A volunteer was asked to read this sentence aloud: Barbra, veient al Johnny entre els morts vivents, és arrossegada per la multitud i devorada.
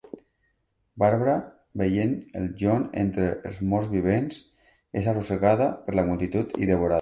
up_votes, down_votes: 0, 2